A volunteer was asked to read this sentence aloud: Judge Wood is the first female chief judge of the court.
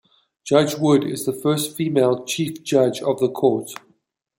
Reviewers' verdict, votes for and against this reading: accepted, 2, 0